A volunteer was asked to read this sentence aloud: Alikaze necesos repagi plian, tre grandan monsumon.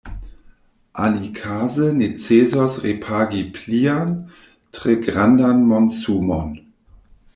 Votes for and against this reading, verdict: 0, 2, rejected